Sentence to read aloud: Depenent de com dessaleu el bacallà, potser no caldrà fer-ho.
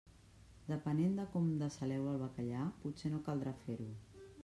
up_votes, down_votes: 1, 2